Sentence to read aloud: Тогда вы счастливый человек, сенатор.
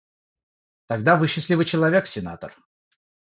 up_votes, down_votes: 3, 0